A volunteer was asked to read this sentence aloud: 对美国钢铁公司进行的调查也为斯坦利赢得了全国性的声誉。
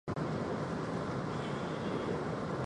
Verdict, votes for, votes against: rejected, 0, 3